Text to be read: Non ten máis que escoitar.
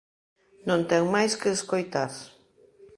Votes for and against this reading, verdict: 2, 0, accepted